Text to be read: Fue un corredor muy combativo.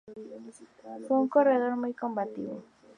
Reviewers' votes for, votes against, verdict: 2, 0, accepted